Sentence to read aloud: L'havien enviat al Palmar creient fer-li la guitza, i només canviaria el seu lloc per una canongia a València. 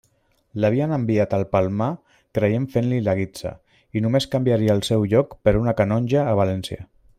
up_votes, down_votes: 1, 2